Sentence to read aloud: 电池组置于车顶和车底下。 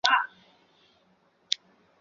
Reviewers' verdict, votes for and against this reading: rejected, 0, 5